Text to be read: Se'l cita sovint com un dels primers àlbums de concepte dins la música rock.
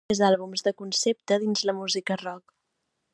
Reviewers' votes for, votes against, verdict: 0, 2, rejected